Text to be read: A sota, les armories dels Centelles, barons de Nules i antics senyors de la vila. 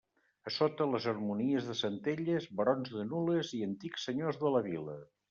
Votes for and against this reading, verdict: 1, 2, rejected